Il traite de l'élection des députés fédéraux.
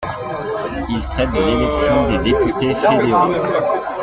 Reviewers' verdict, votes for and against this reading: accepted, 2, 0